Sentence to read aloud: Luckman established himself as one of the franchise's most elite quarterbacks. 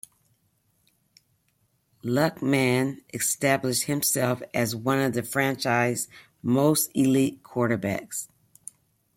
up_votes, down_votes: 2, 0